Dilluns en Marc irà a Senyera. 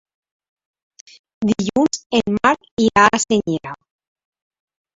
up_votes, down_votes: 1, 2